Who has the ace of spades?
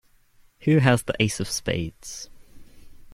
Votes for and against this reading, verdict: 2, 0, accepted